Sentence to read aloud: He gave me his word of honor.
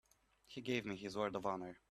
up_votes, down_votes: 2, 0